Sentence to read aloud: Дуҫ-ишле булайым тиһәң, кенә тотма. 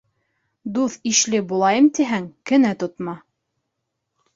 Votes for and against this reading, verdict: 2, 0, accepted